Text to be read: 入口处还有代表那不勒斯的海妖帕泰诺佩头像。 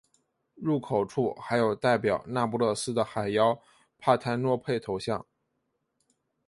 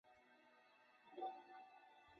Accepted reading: first